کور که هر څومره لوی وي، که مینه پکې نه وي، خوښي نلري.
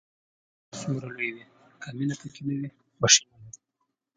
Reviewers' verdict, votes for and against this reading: rejected, 0, 2